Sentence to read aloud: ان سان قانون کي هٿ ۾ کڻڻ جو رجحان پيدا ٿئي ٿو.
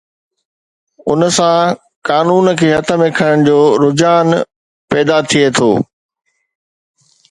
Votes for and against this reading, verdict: 2, 0, accepted